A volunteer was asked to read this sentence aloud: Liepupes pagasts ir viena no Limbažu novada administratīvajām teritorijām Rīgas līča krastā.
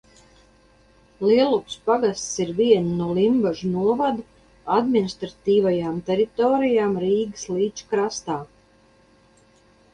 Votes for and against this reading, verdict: 0, 2, rejected